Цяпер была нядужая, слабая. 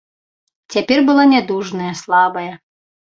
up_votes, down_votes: 1, 2